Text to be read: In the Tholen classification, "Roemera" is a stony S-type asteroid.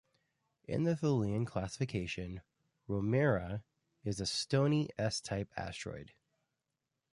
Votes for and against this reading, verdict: 2, 1, accepted